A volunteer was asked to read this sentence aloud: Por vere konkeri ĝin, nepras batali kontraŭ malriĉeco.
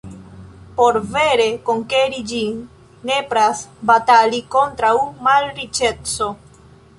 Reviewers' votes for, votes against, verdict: 2, 0, accepted